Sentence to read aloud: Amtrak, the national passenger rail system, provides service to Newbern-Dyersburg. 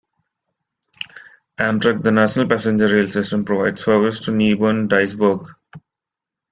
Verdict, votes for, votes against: accepted, 2, 0